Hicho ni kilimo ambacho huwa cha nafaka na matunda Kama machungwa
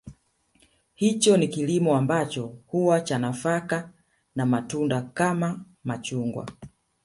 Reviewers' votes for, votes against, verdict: 1, 2, rejected